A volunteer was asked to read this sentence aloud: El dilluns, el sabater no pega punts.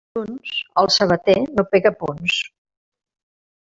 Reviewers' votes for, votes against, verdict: 0, 2, rejected